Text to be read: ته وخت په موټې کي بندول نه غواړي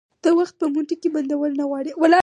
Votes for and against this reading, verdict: 2, 4, rejected